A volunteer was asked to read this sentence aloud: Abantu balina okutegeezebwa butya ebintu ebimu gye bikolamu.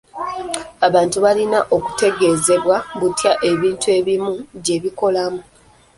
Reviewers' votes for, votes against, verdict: 1, 2, rejected